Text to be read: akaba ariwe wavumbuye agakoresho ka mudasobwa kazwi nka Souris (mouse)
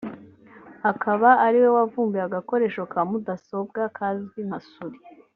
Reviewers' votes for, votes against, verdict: 1, 2, rejected